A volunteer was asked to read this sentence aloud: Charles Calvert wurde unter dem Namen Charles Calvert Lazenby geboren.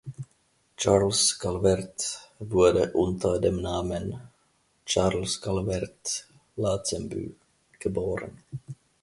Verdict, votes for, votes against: rejected, 0, 2